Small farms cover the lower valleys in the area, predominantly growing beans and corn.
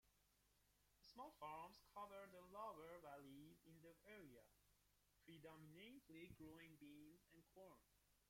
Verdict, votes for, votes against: rejected, 0, 2